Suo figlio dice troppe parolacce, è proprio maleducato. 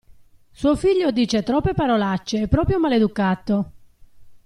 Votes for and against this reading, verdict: 2, 1, accepted